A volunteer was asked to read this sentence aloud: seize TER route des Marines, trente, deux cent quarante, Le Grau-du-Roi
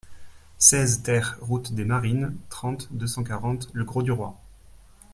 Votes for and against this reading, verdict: 2, 0, accepted